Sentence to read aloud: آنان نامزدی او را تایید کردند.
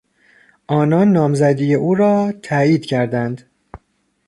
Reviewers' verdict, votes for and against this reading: accepted, 2, 0